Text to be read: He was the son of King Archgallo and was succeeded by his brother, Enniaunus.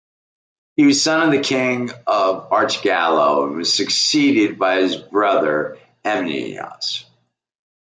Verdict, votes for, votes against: rejected, 1, 2